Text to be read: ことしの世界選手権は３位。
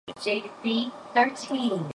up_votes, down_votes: 0, 2